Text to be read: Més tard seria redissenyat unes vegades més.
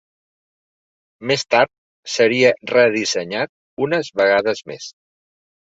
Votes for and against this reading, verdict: 3, 0, accepted